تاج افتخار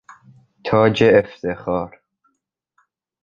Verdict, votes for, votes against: accepted, 3, 0